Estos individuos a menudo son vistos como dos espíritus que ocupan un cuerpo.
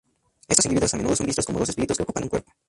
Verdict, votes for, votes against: rejected, 0, 2